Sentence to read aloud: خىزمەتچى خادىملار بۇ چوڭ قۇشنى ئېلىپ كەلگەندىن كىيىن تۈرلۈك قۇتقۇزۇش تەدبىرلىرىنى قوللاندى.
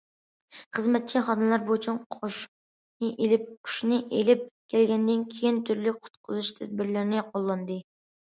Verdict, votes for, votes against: rejected, 0, 2